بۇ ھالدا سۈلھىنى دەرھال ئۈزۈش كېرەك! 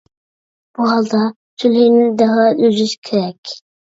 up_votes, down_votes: 1, 2